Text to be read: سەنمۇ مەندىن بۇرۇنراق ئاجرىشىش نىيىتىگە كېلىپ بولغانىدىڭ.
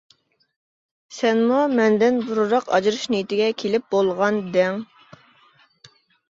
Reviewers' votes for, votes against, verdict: 1, 2, rejected